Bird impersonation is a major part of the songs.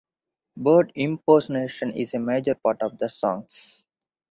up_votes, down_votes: 4, 0